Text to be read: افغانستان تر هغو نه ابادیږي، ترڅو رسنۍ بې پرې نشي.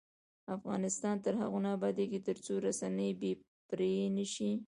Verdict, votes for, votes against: accepted, 2, 0